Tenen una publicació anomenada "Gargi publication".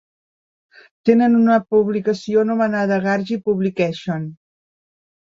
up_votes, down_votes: 2, 0